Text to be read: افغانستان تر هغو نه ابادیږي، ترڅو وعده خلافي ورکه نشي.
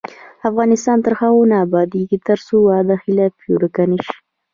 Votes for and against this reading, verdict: 1, 2, rejected